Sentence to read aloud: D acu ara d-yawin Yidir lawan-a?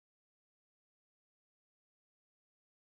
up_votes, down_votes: 1, 2